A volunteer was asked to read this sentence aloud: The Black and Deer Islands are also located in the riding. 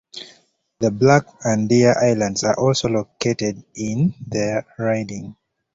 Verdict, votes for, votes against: accepted, 2, 0